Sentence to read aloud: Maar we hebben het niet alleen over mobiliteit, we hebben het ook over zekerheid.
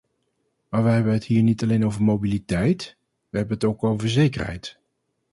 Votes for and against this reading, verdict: 0, 2, rejected